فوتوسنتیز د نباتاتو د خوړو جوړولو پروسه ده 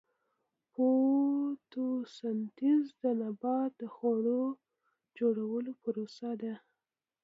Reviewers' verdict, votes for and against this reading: rejected, 1, 2